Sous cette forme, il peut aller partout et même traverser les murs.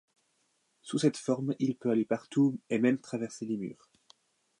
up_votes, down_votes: 2, 0